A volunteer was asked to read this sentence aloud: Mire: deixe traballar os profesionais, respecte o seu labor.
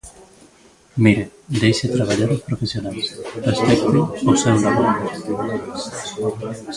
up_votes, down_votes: 0, 2